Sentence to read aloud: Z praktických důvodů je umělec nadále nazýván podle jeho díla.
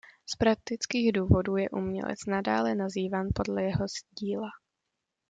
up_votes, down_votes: 1, 2